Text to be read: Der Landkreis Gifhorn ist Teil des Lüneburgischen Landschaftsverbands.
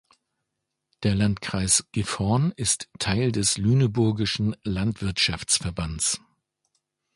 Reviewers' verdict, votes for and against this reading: rejected, 0, 2